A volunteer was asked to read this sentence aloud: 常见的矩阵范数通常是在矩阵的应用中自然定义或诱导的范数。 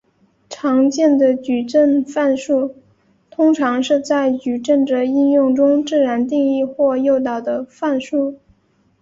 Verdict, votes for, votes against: accepted, 3, 0